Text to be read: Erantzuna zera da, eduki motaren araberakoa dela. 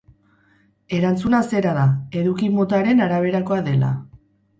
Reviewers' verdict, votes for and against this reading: accepted, 2, 0